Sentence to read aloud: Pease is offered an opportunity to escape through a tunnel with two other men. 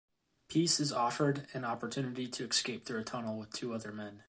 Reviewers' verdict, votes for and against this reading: accepted, 2, 0